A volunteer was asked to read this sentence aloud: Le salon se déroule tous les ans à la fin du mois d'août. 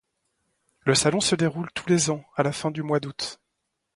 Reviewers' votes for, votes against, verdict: 0, 2, rejected